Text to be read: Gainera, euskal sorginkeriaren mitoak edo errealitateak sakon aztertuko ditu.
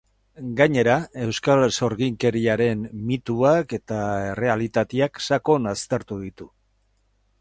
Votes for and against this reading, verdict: 4, 4, rejected